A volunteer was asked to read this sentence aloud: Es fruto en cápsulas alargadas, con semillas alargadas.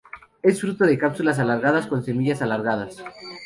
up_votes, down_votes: 2, 2